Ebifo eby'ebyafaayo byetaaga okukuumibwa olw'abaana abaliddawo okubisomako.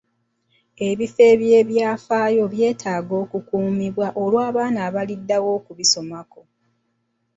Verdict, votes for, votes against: accepted, 2, 0